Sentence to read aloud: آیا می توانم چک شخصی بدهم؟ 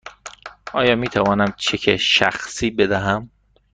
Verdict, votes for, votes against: accepted, 2, 0